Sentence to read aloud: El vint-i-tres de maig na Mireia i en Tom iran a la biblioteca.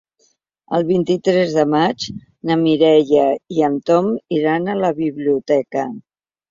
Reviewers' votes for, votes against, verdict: 3, 0, accepted